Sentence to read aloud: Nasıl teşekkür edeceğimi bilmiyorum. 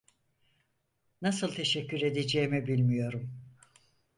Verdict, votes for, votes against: accepted, 4, 0